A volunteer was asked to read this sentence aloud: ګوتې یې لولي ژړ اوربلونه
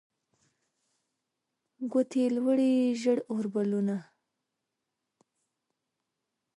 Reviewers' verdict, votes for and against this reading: rejected, 0, 2